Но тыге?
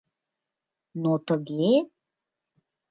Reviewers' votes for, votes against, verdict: 2, 0, accepted